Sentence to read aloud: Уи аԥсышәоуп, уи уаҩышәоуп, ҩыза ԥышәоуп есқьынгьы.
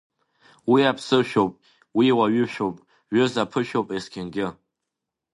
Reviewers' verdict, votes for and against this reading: accepted, 2, 0